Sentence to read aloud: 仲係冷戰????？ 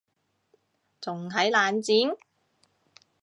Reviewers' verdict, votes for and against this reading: rejected, 1, 2